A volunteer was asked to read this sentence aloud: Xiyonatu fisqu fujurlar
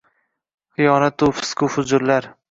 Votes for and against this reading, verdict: 2, 0, accepted